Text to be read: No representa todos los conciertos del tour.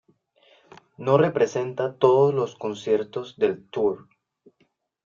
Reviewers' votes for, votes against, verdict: 2, 0, accepted